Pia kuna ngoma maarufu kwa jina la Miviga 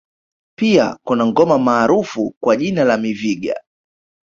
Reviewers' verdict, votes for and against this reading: rejected, 1, 2